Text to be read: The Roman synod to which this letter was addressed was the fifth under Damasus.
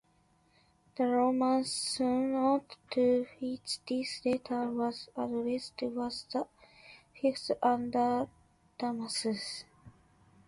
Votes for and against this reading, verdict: 0, 2, rejected